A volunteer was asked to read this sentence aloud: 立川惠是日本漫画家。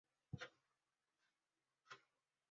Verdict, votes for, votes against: rejected, 0, 2